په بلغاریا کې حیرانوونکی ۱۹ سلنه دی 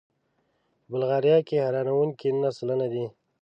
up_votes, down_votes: 0, 2